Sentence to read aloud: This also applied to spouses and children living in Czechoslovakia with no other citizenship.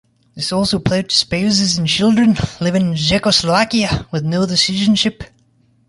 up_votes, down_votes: 2, 0